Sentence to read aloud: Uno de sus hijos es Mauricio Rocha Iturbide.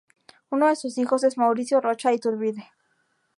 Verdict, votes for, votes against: rejected, 2, 2